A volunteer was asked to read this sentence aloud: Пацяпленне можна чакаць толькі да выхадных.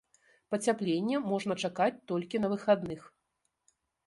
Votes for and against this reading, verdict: 1, 2, rejected